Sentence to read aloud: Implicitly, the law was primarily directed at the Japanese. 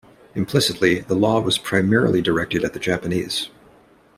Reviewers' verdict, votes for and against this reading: accepted, 2, 1